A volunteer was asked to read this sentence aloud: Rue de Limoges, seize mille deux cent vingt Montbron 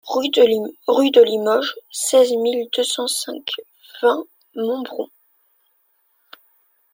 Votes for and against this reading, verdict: 0, 2, rejected